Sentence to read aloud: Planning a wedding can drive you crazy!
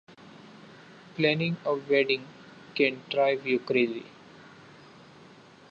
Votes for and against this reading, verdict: 3, 0, accepted